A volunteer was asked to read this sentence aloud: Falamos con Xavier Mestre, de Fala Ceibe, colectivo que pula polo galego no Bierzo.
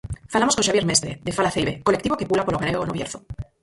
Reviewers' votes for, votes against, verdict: 0, 4, rejected